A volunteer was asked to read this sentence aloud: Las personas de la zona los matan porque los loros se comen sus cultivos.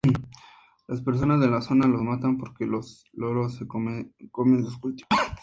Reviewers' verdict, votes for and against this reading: accepted, 2, 0